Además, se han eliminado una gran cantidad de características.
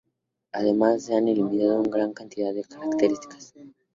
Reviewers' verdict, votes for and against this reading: rejected, 0, 2